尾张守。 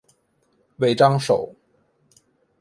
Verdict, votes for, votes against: accepted, 2, 1